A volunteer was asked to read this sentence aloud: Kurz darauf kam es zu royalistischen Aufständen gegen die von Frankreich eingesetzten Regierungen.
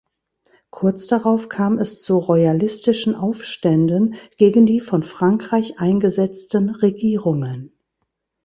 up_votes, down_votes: 2, 0